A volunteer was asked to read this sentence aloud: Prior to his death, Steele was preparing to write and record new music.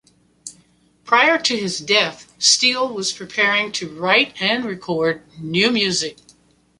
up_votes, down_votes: 2, 0